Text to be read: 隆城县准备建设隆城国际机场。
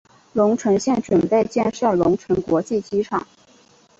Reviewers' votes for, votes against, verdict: 2, 0, accepted